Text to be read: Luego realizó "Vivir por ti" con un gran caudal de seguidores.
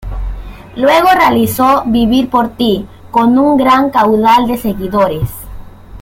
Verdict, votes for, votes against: accepted, 2, 1